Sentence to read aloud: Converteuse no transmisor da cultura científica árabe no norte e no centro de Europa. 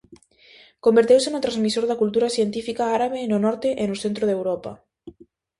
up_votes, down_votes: 2, 0